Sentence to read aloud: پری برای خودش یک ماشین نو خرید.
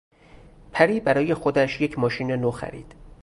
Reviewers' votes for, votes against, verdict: 2, 2, rejected